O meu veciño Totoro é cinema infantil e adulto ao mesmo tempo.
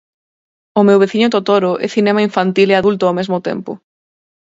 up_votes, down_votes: 4, 0